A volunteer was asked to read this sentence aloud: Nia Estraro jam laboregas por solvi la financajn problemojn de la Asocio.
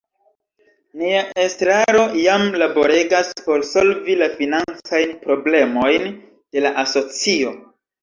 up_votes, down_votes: 1, 2